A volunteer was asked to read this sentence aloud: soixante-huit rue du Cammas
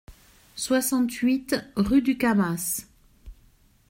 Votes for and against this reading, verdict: 2, 0, accepted